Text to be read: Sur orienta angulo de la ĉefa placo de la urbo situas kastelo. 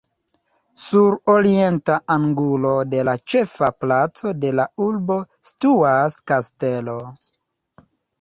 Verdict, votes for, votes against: rejected, 1, 2